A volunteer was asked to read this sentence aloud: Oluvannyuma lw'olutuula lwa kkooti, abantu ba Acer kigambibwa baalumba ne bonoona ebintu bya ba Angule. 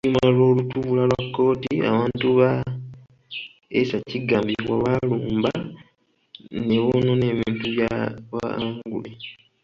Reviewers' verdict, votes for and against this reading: rejected, 0, 2